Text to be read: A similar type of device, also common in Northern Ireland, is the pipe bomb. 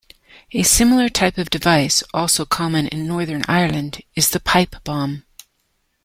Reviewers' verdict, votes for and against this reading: accepted, 2, 0